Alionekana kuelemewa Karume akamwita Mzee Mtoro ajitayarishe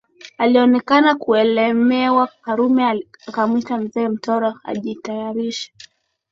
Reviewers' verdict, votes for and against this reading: accepted, 3, 1